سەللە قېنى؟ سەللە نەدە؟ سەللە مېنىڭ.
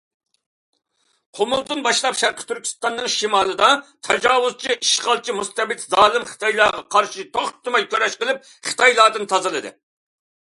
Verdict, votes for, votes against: rejected, 0, 2